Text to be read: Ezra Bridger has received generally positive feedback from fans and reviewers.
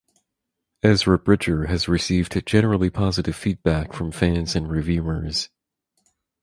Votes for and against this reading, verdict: 2, 2, rejected